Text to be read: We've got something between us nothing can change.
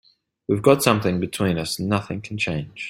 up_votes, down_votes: 3, 0